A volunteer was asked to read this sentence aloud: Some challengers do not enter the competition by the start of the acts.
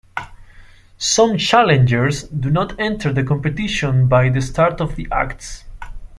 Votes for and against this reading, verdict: 2, 0, accepted